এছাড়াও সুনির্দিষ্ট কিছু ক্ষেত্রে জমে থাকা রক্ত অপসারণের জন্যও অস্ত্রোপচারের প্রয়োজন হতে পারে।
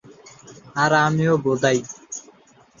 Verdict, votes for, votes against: rejected, 0, 2